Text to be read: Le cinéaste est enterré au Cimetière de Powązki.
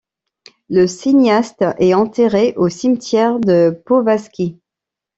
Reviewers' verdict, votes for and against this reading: rejected, 1, 2